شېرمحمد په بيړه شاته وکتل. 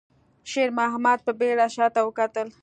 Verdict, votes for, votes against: accepted, 2, 0